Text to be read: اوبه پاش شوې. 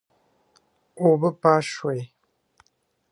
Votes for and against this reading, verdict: 2, 0, accepted